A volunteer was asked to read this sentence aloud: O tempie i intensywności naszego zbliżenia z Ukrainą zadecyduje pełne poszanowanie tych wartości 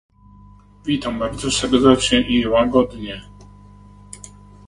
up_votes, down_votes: 0, 2